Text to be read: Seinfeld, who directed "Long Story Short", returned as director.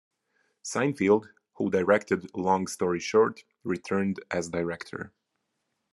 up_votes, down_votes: 2, 1